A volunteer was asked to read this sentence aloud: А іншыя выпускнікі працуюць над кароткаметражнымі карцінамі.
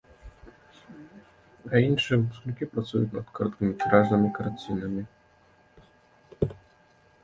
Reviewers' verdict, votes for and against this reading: rejected, 1, 2